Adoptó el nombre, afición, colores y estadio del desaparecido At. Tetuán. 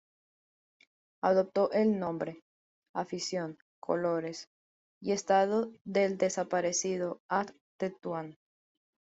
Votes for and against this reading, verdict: 2, 1, accepted